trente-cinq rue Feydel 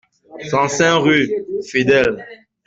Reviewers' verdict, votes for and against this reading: rejected, 1, 2